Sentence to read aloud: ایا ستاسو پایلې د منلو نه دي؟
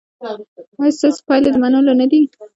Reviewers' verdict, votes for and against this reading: rejected, 1, 2